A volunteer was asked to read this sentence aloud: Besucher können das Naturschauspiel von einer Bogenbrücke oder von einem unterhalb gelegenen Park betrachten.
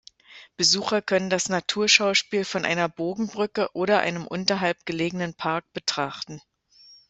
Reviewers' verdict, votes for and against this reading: accepted, 2, 0